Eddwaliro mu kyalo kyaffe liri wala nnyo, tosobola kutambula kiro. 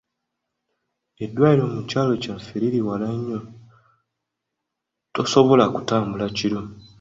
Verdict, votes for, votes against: accepted, 2, 0